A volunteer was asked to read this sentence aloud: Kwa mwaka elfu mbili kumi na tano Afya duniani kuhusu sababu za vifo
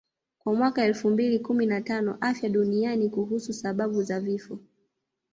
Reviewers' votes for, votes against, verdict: 0, 2, rejected